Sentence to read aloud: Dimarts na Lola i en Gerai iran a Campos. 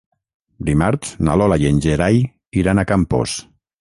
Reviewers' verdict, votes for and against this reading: rejected, 3, 3